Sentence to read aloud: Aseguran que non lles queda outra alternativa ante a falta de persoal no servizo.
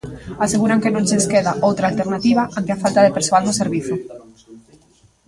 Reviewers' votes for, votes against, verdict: 1, 2, rejected